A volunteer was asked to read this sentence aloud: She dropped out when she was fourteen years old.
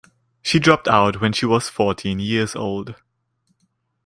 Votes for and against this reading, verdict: 2, 0, accepted